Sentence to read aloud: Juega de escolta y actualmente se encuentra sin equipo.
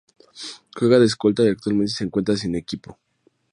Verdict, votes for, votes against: accepted, 2, 0